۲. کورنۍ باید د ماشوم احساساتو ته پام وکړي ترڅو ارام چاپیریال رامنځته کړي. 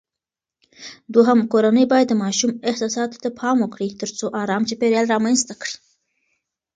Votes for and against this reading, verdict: 0, 2, rejected